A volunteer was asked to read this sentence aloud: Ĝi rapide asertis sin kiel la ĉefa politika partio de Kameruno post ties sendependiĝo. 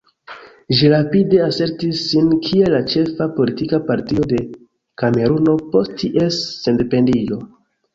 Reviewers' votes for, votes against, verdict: 2, 1, accepted